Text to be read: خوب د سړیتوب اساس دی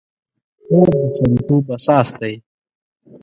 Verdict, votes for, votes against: rejected, 1, 2